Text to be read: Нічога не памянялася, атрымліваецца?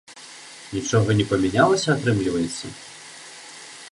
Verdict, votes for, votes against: accepted, 2, 0